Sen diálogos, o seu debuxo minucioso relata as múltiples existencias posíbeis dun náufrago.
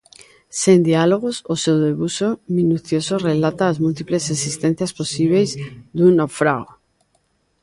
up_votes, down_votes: 0, 2